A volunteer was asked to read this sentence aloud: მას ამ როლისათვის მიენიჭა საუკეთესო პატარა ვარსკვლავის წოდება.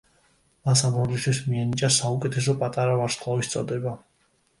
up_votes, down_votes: 0, 2